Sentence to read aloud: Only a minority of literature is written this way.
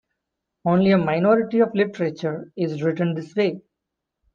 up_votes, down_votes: 2, 0